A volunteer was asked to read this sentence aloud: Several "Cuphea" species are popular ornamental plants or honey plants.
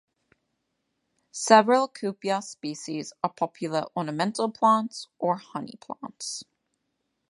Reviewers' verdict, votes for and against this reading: accepted, 2, 0